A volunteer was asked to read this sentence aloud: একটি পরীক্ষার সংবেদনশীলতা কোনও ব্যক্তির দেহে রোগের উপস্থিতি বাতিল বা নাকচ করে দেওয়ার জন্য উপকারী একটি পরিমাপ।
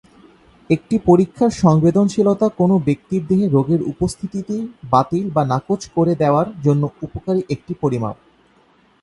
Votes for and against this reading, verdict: 0, 2, rejected